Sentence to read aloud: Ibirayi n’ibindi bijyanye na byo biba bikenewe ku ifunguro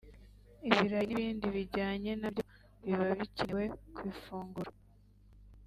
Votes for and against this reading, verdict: 1, 2, rejected